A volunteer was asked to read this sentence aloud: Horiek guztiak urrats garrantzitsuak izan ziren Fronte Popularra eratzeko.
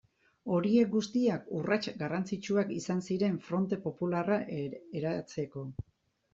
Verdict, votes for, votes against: rejected, 0, 2